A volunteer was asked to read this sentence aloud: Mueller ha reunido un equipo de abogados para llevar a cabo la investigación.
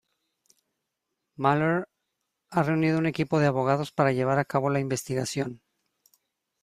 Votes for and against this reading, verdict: 2, 0, accepted